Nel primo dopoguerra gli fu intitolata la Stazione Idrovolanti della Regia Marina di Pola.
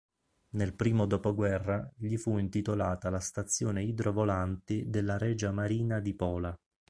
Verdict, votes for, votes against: accepted, 2, 0